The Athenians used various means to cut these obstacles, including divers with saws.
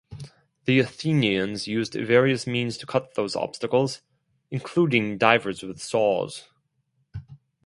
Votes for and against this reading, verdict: 0, 4, rejected